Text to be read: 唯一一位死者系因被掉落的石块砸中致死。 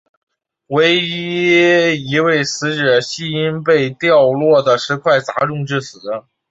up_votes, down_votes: 2, 3